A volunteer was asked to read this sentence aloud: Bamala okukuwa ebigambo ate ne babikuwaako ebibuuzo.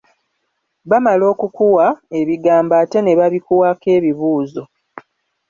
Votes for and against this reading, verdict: 2, 1, accepted